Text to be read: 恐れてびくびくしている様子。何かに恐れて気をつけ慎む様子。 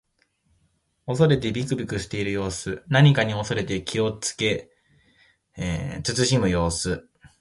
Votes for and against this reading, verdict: 0, 2, rejected